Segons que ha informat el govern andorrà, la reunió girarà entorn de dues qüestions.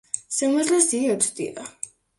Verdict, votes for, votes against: rejected, 0, 2